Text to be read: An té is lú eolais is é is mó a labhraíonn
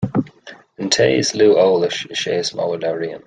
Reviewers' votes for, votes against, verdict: 2, 0, accepted